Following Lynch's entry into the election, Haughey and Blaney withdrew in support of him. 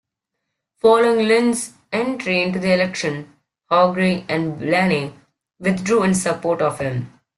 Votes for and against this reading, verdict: 2, 0, accepted